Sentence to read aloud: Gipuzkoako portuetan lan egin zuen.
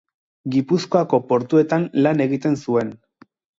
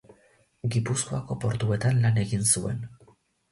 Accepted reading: second